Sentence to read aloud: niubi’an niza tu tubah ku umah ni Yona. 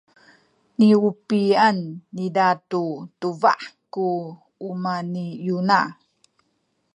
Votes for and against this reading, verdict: 2, 0, accepted